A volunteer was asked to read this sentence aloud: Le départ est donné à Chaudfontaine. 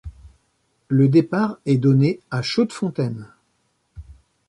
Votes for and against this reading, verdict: 0, 2, rejected